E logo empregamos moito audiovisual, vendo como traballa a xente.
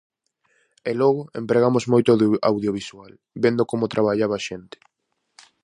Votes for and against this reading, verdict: 0, 4, rejected